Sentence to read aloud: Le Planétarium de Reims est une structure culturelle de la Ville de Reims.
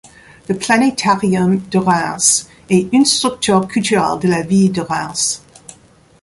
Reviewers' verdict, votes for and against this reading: rejected, 0, 2